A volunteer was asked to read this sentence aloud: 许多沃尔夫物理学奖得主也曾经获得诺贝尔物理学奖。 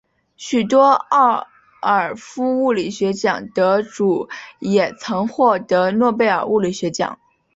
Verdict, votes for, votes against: accepted, 4, 0